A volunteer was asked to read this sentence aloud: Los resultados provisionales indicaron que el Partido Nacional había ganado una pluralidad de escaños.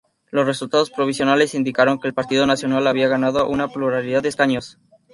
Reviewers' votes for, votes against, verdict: 0, 2, rejected